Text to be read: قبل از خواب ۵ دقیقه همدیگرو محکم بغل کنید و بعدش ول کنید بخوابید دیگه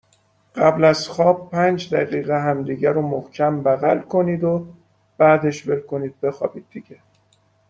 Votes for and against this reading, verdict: 0, 2, rejected